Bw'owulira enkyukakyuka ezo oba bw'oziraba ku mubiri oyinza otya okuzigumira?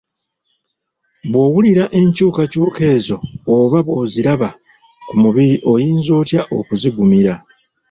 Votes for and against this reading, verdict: 3, 0, accepted